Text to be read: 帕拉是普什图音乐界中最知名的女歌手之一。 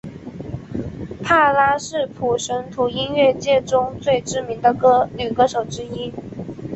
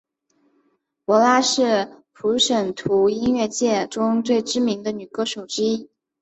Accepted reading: second